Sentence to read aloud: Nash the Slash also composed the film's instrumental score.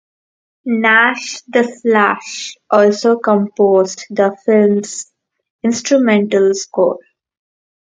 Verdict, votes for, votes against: rejected, 0, 2